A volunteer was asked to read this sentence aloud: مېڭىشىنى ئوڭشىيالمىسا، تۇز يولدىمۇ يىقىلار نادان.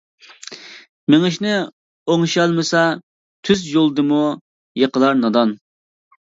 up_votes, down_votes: 0, 2